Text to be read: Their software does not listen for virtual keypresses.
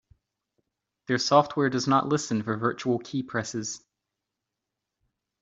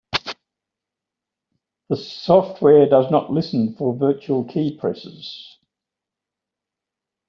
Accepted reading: first